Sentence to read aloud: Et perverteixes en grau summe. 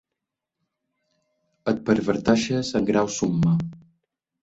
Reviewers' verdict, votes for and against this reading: accepted, 2, 0